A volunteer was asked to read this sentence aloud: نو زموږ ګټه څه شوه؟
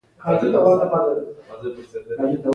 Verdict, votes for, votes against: rejected, 0, 2